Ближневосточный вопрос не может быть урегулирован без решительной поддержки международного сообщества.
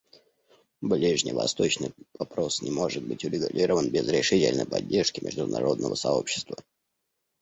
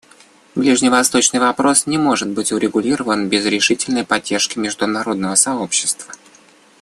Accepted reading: second